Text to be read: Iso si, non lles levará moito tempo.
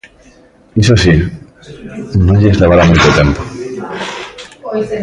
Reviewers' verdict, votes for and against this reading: rejected, 0, 2